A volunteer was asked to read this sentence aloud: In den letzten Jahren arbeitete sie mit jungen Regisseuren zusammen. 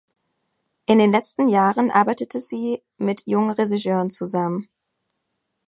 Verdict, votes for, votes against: rejected, 2, 3